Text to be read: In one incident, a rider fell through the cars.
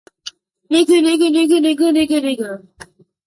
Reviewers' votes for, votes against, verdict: 0, 2, rejected